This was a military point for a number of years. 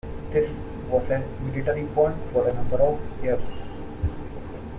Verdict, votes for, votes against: rejected, 0, 2